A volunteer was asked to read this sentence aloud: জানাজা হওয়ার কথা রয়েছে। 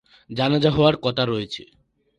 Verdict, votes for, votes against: rejected, 0, 2